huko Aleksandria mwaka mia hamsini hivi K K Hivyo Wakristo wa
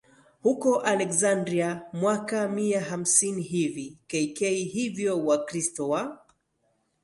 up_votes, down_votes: 5, 0